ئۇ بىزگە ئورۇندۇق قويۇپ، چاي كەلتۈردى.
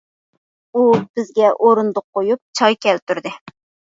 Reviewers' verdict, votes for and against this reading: accepted, 2, 0